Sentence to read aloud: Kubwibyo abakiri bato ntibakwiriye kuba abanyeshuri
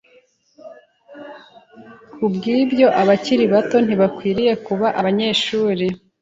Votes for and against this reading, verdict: 2, 0, accepted